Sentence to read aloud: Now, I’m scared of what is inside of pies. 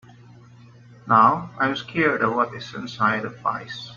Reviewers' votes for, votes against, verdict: 2, 0, accepted